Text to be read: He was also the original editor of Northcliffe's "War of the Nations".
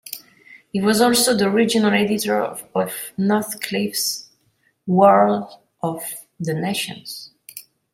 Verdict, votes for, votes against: accepted, 2, 1